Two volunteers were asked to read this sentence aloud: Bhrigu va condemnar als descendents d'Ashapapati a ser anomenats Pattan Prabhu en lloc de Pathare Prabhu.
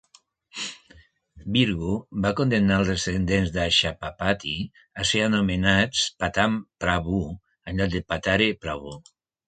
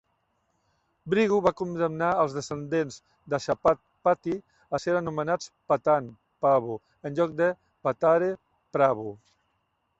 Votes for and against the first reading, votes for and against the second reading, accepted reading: 3, 0, 0, 2, first